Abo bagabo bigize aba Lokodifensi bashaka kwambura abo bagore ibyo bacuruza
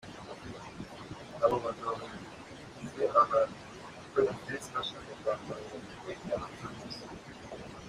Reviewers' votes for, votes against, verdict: 1, 2, rejected